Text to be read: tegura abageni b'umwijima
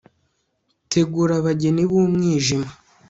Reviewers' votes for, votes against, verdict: 2, 0, accepted